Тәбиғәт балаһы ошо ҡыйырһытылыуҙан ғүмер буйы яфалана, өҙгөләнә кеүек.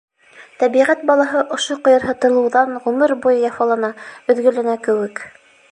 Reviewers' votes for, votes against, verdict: 2, 0, accepted